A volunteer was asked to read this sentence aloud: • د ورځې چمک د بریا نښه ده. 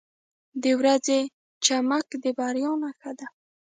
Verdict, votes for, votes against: rejected, 1, 2